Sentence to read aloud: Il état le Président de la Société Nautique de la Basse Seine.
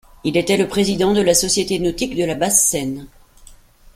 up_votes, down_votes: 2, 0